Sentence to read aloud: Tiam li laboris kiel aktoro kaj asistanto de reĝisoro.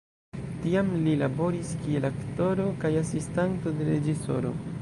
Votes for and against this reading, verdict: 1, 2, rejected